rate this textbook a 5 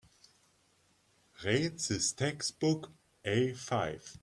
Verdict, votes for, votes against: rejected, 0, 2